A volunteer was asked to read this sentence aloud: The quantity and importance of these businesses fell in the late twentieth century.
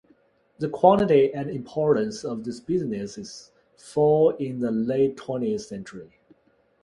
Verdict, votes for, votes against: rejected, 1, 2